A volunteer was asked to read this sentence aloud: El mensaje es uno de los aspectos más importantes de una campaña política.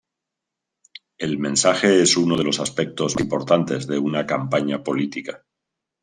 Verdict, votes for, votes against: rejected, 0, 2